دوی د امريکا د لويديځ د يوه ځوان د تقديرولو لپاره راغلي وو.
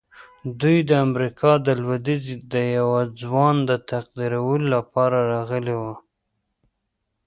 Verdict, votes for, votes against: rejected, 1, 2